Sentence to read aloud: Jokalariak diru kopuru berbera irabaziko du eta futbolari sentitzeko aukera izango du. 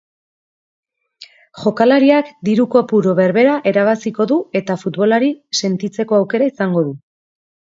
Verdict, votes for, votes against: rejected, 0, 2